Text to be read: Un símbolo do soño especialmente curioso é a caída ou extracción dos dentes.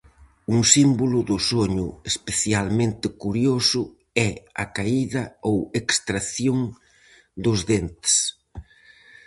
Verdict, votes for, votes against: accepted, 4, 0